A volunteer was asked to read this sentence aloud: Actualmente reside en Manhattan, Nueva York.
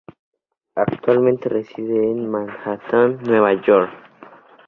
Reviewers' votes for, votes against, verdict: 2, 0, accepted